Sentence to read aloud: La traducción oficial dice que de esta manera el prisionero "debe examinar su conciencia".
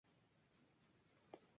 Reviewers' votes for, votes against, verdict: 0, 2, rejected